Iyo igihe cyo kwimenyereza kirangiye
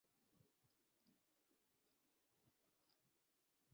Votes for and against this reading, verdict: 1, 2, rejected